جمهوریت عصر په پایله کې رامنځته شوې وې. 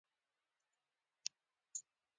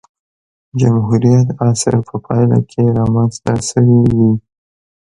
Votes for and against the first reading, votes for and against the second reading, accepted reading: 0, 2, 2, 0, second